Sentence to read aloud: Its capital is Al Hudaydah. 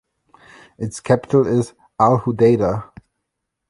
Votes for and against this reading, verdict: 2, 1, accepted